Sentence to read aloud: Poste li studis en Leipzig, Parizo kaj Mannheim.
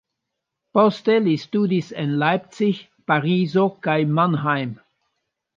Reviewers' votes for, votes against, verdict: 2, 1, accepted